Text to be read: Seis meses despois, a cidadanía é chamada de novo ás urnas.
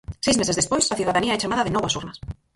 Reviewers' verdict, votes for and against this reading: rejected, 0, 4